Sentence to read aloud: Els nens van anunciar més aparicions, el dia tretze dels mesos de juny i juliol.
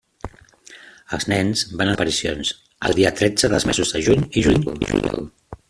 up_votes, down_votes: 0, 2